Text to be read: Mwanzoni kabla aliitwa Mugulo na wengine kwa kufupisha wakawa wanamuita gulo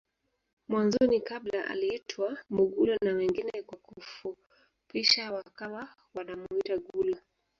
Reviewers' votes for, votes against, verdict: 1, 2, rejected